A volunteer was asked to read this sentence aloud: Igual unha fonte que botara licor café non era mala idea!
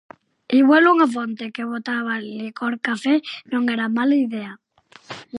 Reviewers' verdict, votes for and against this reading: rejected, 0, 4